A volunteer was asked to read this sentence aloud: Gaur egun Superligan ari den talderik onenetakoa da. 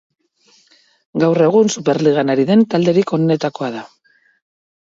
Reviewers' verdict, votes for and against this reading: accepted, 10, 0